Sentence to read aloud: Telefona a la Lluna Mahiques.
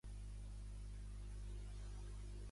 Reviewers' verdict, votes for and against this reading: rejected, 0, 2